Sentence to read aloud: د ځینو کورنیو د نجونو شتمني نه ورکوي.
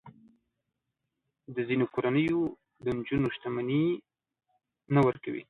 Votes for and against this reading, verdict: 1, 2, rejected